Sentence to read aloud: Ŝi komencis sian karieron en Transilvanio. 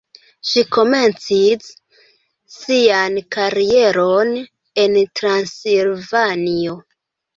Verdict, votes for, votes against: rejected, 0, 2